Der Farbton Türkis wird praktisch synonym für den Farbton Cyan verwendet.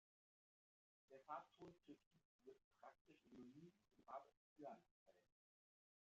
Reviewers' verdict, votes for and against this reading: rejected, 0, 2